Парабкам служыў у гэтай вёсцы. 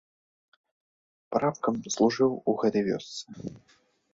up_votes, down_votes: 0, 2